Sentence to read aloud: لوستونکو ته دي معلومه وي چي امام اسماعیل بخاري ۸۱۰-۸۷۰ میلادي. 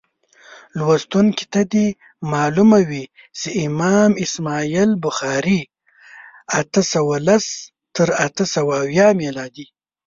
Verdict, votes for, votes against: rejected, 0, 2